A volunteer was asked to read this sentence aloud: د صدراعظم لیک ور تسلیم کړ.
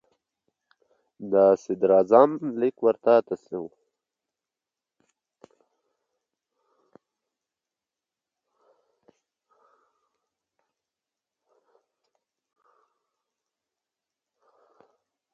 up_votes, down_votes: 0, 2